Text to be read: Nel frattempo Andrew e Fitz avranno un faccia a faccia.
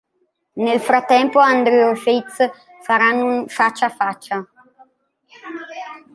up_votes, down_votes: 0, 2